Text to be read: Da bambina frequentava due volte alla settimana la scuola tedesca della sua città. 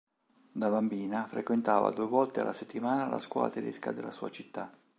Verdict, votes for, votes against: accepted, 2, 0